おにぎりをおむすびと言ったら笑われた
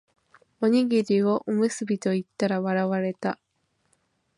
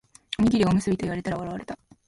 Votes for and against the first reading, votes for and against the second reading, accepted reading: 2, 0, 1, 2, first